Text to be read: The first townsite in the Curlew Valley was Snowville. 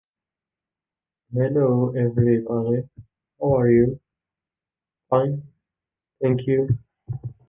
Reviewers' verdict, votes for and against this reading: rejected, 0, 2